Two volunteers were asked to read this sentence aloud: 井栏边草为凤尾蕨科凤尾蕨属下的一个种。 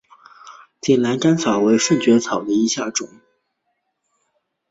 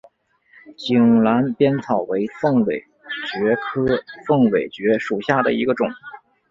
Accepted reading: second